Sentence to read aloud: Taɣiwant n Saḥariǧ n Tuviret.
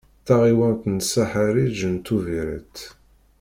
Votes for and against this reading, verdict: 2, 0, accepted